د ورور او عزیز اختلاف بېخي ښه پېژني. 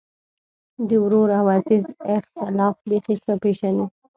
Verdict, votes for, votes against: accepted, 2, 0